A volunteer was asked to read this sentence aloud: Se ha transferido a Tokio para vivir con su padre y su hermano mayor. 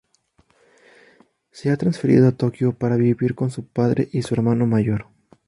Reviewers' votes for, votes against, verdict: 2, 0, accepted